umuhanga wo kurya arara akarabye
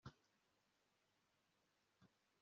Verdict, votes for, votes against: rejected, 0, 2